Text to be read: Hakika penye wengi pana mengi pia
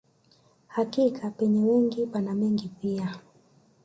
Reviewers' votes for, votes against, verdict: 0, 2, rejected